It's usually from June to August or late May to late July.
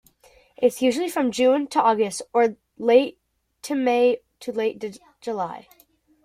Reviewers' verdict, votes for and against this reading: rejected, 0, 3